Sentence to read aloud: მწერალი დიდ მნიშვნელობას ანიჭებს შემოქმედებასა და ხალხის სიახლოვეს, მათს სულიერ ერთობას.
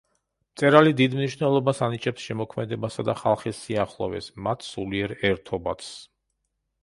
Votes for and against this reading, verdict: 1, 2, rejected